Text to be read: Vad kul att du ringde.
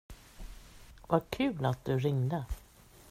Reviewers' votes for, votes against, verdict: 2, 0, accepted